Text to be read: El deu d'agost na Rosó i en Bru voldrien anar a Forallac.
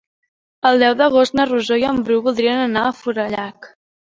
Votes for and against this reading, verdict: 3, 0, accepted